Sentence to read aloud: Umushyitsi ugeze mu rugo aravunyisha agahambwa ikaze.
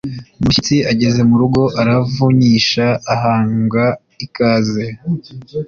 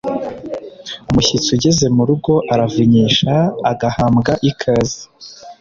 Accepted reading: second